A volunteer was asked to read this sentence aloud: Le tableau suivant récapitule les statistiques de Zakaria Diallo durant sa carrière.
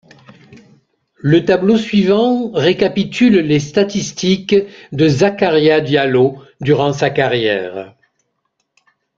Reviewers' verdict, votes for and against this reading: accepted, 2, 0